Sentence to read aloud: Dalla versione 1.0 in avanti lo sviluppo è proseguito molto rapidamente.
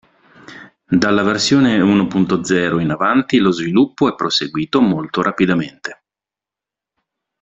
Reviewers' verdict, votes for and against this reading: rejected, 0, 2